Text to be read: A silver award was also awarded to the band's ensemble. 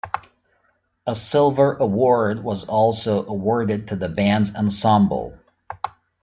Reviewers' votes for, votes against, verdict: 2, 0, accepted